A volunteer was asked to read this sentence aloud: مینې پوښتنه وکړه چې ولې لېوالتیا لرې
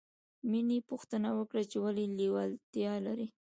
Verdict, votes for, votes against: accepted, 2, 1